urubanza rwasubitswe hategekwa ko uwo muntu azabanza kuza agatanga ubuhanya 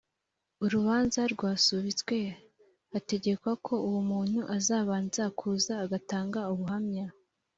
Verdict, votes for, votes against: accepted, 4, 1